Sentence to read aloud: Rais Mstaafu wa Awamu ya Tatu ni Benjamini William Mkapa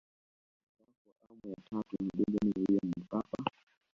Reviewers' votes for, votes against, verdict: 1, 2, rejected